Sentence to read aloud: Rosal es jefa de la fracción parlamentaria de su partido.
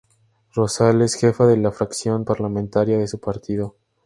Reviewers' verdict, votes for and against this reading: accepted, 2, 0